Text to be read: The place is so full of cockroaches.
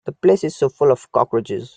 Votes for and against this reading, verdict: 2, 1, accepted